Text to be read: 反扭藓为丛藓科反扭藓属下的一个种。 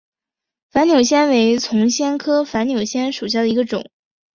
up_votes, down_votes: 2, 0